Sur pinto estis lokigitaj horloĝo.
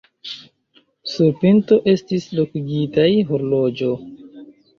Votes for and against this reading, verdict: 2, 0, accepted